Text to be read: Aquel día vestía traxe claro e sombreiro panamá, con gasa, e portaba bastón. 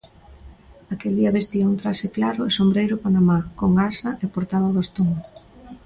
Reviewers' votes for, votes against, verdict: 1, 2, rejected